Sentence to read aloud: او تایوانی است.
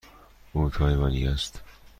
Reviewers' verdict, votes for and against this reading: accepted, 2, 0